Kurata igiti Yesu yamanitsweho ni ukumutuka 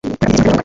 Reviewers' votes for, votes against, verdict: 1, 2, rejected